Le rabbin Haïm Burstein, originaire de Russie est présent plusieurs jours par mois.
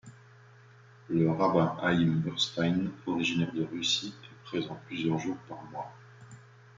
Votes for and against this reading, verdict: 0, 2, rejected